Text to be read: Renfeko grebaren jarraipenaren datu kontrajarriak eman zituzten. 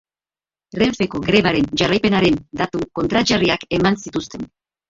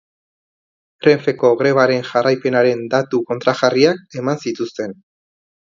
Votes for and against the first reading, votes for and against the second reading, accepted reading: 0, 2, 2, 0, second